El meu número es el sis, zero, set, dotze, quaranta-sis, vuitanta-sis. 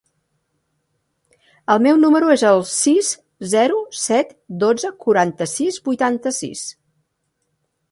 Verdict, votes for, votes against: accepted, 3, 0